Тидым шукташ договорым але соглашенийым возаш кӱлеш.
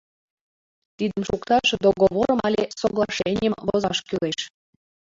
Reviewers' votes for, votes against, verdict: 0, 2, rejected